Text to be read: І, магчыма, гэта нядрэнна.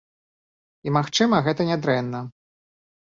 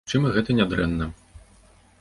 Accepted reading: first